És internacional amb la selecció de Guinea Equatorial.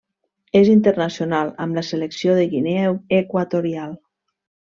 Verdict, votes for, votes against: rejected, 1, 2